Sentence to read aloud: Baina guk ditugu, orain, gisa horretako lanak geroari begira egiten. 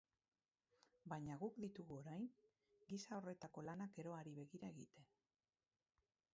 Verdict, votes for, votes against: rejected, 2, 4